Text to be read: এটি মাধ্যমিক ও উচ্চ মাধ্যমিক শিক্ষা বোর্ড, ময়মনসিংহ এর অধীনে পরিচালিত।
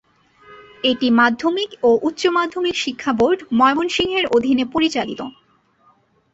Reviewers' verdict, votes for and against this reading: accepted, 21, 1